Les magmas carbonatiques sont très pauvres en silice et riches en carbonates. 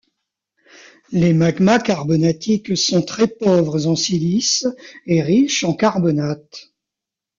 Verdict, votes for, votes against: accepted, 2, 0